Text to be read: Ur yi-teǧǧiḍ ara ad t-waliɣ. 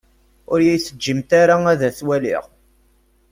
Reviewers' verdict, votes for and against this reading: rejected, 1, 2